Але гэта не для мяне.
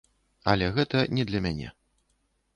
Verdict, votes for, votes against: accepted, 2, 0